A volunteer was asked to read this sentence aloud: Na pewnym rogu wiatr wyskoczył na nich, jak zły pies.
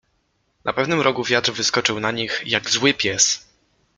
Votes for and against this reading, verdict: 2, 0, accepted